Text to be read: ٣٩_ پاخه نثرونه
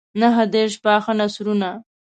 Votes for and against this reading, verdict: 0, 2, rejected